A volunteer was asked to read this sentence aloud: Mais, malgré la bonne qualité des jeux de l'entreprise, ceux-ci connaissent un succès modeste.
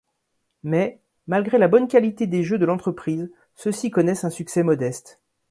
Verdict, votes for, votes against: accepted, 2, 0